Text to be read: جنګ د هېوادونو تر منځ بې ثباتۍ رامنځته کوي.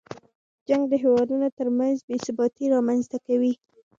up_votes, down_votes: 1, 2